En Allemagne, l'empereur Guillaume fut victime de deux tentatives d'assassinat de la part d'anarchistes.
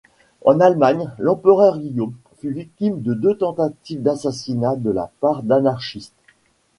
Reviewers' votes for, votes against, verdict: 3, 0, accepted